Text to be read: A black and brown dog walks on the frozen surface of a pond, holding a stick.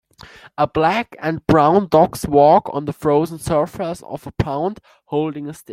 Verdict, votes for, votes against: rejected, 1, 2